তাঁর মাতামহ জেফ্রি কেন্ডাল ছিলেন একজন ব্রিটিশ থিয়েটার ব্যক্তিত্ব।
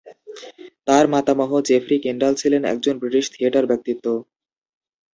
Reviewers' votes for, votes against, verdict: 3, 0, accepted